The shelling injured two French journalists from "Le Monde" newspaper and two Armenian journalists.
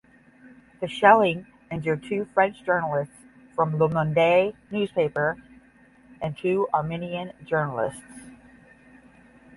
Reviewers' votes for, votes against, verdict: 10, 0, accepted